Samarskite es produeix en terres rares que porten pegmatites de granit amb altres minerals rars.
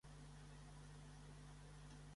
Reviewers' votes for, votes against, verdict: 0, 2, rejected